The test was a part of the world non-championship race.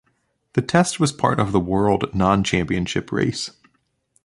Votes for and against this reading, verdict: 2, 1, accepted